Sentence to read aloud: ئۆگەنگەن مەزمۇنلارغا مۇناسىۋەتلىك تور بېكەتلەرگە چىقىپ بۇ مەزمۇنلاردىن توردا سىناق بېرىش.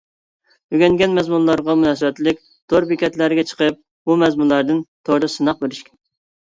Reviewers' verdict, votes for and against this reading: accepted, 2, 0